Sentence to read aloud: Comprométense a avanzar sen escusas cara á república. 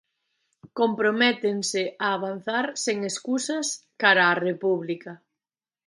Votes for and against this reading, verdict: 2, 1, accepted